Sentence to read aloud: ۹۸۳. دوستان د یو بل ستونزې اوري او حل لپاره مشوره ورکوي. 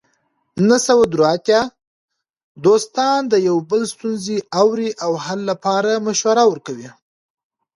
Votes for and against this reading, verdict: 0, 2, rejected